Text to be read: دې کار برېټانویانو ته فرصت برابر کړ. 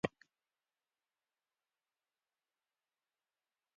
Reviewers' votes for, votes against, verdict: 1, 2, rejected